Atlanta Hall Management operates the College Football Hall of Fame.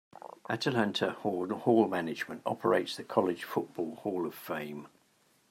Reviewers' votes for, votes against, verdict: 0, 2, rejected